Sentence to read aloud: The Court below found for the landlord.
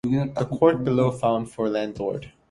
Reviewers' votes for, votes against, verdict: 1, 2, rejected